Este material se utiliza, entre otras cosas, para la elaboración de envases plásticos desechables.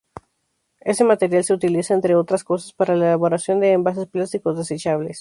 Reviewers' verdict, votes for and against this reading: rejected, 0, 2